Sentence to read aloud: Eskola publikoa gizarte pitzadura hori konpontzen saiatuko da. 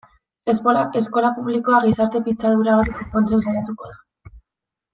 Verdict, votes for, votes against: rejected, 0, 2